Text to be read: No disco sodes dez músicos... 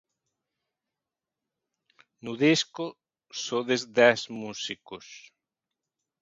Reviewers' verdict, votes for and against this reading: accepted, 2, 0